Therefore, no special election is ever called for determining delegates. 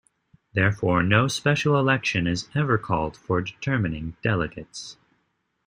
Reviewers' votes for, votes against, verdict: 2, 0, accepted